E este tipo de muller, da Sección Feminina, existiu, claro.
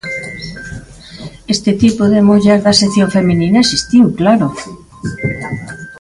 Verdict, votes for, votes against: rejected, 0, 2